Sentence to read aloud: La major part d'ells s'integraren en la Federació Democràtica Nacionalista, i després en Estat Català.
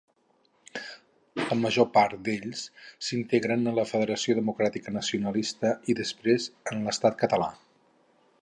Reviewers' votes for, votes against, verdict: 0, 4, rejected